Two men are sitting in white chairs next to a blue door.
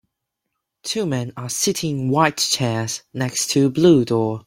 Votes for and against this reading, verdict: 2, 0, accepted